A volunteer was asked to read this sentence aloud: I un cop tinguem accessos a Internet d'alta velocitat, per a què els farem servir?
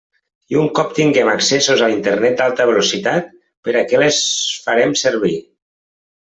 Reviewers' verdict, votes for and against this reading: rejected, 1, 2